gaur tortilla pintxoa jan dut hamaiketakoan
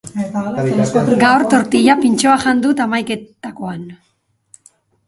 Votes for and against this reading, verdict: 0, 2, rejected